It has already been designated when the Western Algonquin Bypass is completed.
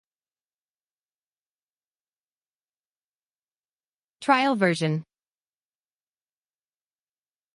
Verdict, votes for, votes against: rejected, 0, 2